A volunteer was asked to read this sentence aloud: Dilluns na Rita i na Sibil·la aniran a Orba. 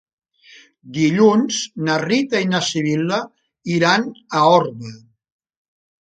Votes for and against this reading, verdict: 1, 2, rejected